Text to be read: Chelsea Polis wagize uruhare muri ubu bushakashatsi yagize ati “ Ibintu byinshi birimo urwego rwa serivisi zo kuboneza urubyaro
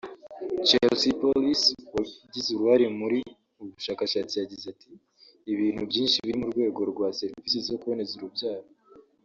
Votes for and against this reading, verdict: 1, 2, rejected